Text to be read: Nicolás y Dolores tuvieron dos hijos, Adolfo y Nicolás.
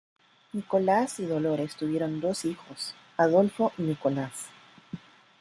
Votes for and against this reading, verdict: 0, 2, rejected